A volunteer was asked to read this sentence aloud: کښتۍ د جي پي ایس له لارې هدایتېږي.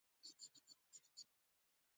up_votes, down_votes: 1, 2